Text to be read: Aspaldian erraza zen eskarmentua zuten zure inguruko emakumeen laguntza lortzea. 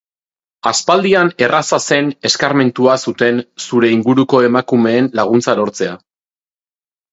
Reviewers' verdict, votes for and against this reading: accepted, 3, 0